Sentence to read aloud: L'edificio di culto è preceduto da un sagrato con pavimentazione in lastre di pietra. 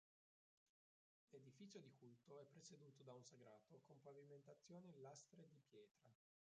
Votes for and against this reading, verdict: 0, 3, rejected